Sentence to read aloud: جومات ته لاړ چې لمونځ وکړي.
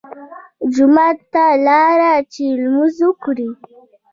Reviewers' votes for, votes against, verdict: 1, 2, rejected